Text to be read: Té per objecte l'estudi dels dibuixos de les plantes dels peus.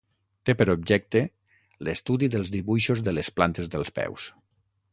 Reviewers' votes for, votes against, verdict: 6, 0, accepted